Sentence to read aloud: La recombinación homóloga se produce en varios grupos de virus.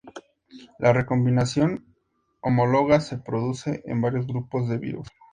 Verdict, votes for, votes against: accepted, 2, 0